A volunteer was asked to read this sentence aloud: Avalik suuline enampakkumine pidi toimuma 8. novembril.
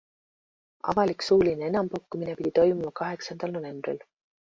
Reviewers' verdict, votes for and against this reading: rejected, 0, 2